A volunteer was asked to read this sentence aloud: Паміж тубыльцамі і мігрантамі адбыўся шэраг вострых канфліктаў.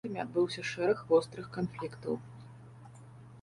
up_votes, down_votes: 0, 2